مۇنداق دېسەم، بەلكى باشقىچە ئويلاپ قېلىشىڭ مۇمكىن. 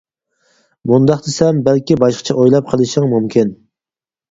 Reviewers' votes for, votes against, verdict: 4, 0, accepted